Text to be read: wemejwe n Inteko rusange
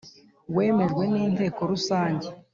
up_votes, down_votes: 3, 0